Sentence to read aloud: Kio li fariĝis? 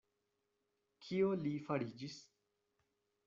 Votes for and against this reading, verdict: 2, 0, accepted